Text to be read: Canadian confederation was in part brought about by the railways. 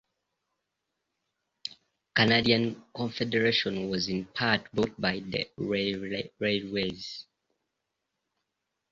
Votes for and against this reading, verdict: 0, 2, rejected